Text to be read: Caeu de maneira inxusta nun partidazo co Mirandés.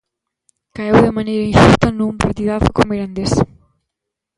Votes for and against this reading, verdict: 0, 2, rejected